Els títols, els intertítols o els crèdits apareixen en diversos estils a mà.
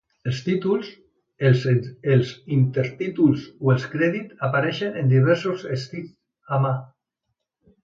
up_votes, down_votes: 1, 2